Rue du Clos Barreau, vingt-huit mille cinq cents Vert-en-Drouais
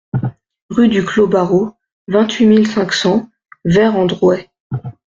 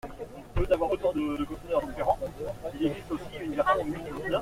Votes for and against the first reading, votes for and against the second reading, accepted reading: 2, 0, 0, 2, first